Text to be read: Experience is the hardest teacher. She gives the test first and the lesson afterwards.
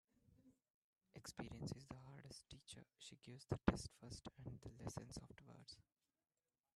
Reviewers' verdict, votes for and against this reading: rejected, 1, 2